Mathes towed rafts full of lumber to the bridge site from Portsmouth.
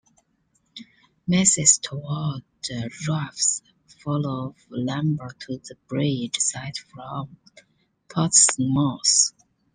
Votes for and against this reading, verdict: 1, 2, rejected